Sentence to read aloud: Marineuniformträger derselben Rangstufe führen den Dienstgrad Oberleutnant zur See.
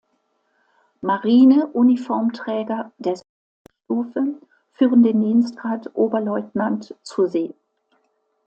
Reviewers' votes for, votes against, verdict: 1, 2, rejected